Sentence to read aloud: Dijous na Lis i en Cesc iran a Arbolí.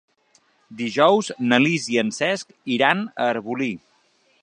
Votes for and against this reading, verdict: 3, 0, accepted